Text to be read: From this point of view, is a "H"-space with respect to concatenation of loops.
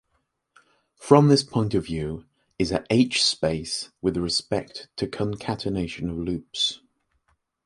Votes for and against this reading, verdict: 2, 0, accepted